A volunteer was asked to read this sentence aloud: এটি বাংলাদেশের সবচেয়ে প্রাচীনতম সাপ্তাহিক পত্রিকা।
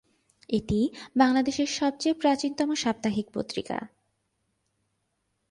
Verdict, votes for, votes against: accepted, 4, 0